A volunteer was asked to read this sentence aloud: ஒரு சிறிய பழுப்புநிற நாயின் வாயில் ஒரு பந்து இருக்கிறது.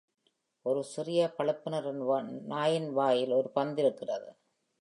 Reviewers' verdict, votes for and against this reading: rejected, 0, 2